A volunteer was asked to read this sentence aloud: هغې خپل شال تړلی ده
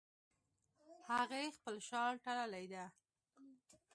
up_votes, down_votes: 2, 0